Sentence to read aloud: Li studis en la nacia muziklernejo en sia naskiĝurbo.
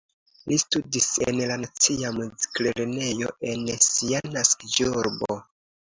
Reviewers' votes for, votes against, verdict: 2, 0, accepted